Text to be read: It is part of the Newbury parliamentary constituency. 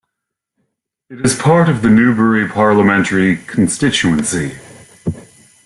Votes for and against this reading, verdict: 2, 0, accepted